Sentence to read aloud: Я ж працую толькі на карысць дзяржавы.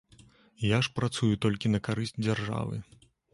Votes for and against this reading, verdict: 2, 0, accepted